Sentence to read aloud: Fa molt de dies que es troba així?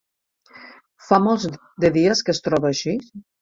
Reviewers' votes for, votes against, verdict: 1, 3, rejected